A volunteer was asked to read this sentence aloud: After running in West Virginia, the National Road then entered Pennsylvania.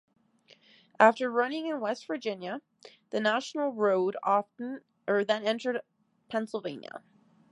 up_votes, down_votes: 1, 2